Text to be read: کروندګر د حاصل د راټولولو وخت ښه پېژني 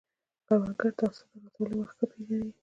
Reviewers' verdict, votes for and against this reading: accepted, 2, 1